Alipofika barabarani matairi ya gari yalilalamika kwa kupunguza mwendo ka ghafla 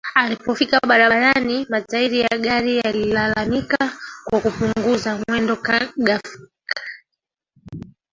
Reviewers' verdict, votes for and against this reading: rejected, 0, 2